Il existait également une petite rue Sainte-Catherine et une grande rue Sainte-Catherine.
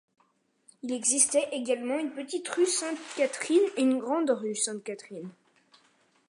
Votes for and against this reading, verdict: 2, 0, accepted